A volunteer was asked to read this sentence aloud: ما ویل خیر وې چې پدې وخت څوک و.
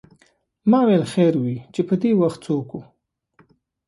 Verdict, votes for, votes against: accepted, 2, 0